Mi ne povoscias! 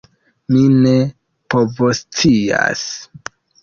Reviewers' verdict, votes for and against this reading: rejected, 0, 2